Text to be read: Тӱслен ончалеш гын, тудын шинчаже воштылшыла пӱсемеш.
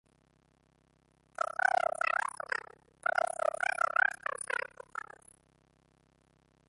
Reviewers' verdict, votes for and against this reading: rejected, 0, 2